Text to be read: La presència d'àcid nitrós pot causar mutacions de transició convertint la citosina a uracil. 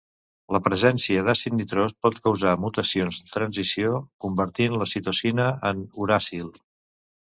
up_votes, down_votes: 1, 2